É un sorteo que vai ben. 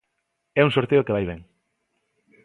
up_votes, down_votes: 2, 0